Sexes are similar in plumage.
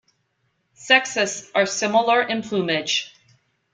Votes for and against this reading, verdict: 2, 0, accepted